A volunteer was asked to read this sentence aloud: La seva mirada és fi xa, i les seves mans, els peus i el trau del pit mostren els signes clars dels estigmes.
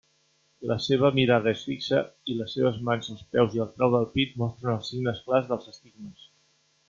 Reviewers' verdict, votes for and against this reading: rejected, 0, 2